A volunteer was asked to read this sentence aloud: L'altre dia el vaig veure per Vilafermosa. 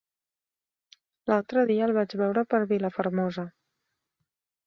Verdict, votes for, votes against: accepted, 3, 0